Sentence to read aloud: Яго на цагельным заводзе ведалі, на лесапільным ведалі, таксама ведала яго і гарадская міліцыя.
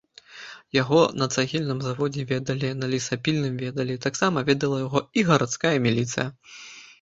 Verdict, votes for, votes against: accepted, 2, 0